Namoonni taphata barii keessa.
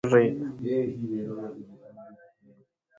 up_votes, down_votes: 0, 2